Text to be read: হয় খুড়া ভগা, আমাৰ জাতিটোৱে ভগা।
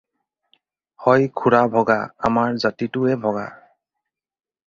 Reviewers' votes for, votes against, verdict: 4, 0, accepted